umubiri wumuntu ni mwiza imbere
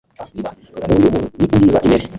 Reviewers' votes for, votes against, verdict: 1, 2, rejected